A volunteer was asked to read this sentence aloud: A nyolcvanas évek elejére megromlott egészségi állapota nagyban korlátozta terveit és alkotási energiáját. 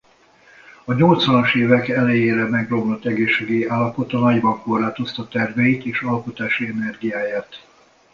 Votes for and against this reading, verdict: 2, 0, accepted